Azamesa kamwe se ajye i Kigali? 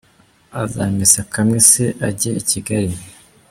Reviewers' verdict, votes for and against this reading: rejected, 0, 2